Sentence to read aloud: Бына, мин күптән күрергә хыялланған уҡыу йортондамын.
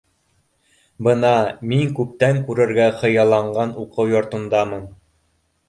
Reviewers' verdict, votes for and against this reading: rejected, 1, 2